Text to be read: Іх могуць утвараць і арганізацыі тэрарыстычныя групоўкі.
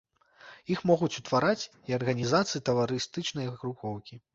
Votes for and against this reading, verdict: 0, 2, rejected